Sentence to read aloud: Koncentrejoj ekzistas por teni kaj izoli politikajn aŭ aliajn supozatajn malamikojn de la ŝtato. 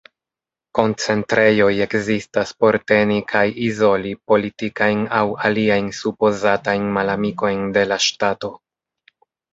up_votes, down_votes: 2, 0